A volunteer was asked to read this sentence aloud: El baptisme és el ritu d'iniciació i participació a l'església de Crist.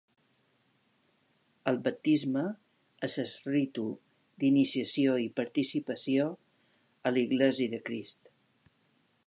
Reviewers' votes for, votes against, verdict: 1, 2, rejected